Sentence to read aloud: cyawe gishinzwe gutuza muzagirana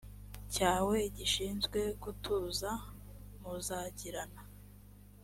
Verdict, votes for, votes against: accepted, 2, 0